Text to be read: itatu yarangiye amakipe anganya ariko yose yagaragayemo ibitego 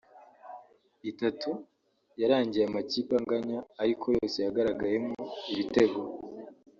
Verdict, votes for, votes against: rejected, 1, 2